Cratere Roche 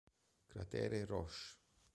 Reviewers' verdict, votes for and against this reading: accepted, 2, 0